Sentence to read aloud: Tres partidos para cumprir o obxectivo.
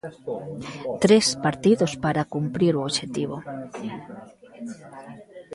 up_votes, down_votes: 1, 2